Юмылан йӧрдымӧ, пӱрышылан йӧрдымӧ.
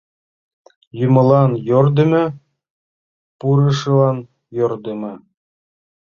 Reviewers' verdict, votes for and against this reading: rejected, 0, 2